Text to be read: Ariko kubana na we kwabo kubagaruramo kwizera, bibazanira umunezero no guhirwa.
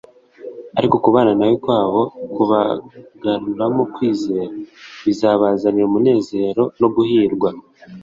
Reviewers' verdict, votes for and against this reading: rejected, 1, 2